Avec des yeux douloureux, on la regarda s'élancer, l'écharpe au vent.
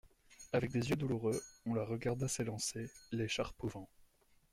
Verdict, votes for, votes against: accepted, 2, 1